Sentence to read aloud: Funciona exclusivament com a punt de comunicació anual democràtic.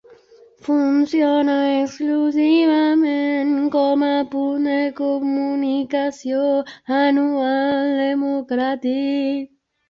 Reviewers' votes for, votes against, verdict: 0, 2, rejected